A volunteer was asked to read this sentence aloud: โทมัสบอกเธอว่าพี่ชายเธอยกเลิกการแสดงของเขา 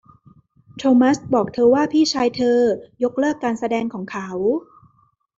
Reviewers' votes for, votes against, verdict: 2, 0, accepted